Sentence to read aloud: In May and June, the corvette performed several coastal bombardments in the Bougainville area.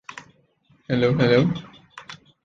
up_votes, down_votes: 0, 2